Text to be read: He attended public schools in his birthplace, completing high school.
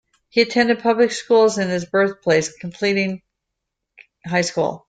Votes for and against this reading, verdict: 2, 1, accepted